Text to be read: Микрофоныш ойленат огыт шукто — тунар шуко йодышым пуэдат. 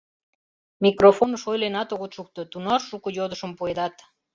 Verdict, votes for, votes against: accepted, 2, 0